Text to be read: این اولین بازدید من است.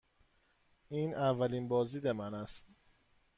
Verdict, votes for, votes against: accepted, 2, 0